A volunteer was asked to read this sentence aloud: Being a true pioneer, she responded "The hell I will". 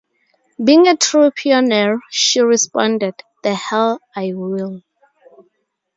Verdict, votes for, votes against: rejected, 0, 2